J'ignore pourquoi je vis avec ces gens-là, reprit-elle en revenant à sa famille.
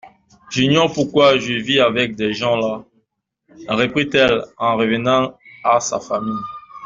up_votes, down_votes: 1, 2